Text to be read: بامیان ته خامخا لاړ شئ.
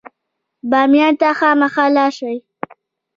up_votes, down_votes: 1, 3